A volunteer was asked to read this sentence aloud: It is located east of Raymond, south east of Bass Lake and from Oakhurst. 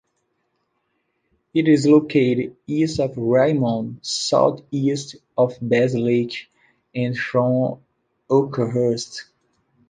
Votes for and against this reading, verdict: 2, 0, accepted